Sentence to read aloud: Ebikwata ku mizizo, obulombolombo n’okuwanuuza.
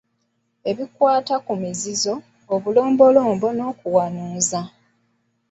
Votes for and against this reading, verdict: 2, 1, accepted